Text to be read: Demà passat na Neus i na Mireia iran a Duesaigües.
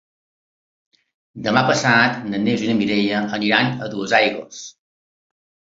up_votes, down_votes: 2, 0